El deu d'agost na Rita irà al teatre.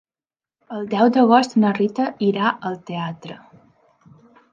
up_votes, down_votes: 3, 0